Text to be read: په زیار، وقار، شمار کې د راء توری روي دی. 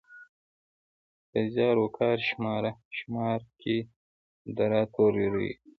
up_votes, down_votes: 0, 2